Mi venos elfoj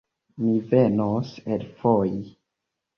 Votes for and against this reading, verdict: 2, 0, accepted